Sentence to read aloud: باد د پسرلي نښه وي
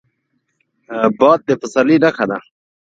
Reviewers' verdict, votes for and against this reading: rejected, 0, 2